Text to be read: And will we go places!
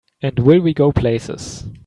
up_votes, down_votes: 3, 0